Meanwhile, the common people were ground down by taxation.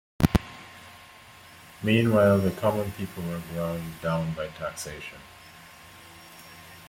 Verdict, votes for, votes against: accepted, 2, 0